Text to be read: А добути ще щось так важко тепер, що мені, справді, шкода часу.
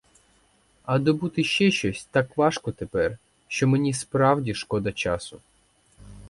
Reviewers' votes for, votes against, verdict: 4, 0, accepted